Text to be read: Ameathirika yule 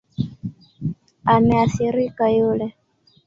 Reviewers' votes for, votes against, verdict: 4, 1, accepted